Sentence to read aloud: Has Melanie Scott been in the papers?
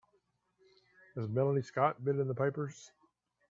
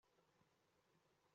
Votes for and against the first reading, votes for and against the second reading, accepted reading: 2, 0, 0, 2, first